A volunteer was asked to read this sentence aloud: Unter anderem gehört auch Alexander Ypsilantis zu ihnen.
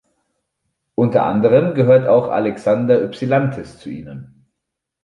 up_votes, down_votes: 2, 0